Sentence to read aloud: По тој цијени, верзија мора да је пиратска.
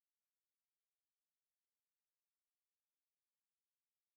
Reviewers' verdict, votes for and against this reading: rejected, 0, 2